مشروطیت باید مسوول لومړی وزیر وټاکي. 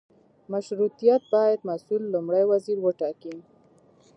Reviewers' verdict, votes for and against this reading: rejected, 1, 2